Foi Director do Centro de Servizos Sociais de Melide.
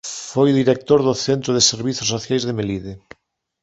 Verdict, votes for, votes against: accepted, 3, 0